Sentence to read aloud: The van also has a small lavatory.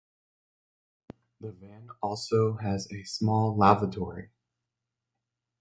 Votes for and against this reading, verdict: 0, 2, rejected